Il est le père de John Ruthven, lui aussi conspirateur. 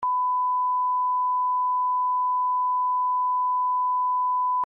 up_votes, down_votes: 0, 2